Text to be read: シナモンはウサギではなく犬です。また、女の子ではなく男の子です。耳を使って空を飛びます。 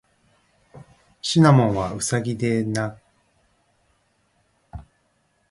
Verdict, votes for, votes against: rejected, 1, 2